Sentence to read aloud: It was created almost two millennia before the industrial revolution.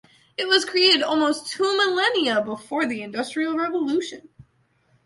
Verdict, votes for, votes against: accepted, 2, 0